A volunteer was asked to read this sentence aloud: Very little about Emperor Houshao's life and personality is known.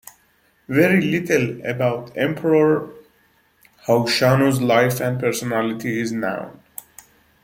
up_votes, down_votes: 1, 2